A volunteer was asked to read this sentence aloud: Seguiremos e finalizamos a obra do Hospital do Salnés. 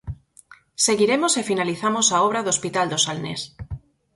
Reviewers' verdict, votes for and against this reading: accepted, 4, 0